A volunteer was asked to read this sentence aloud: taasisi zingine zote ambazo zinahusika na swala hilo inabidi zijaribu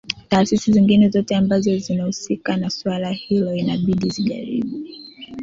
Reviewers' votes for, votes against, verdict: 2, 0, accepted